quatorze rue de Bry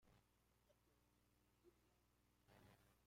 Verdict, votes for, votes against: rejected, 0, 2